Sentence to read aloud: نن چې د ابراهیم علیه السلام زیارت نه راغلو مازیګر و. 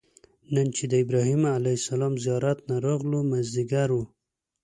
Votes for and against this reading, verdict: 2, 0, accepted